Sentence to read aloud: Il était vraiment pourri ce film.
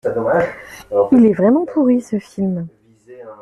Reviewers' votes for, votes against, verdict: 0, 2, rejected